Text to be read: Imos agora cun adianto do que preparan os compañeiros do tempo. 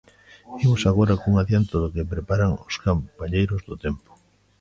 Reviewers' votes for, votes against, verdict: 0, 2, rejected